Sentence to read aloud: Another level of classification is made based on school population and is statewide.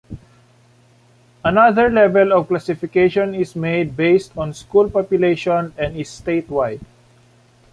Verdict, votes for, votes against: accepted, 2, 0